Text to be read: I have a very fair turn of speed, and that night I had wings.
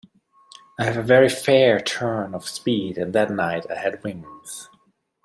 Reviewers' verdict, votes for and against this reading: accepted, 2, 0